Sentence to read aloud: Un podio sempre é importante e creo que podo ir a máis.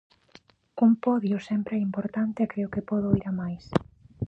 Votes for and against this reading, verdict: 2, 0, accepted